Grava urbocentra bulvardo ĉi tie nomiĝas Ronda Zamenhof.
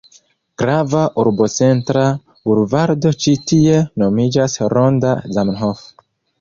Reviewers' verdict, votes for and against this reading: rejected, 0, 2